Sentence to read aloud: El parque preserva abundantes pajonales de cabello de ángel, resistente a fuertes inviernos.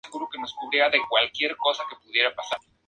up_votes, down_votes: 0, 2